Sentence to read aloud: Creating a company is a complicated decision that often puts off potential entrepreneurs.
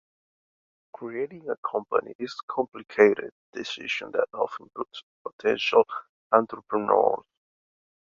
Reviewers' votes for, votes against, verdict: 0, 2, rejected